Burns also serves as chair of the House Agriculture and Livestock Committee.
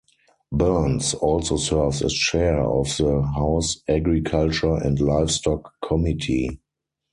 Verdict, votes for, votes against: rejected, 2, 2